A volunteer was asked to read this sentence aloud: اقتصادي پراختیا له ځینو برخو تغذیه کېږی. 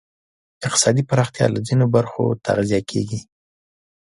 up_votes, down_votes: 2, 0